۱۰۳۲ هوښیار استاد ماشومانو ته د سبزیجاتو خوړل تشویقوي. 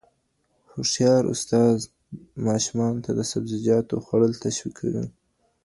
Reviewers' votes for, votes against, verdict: 0, 2, rejected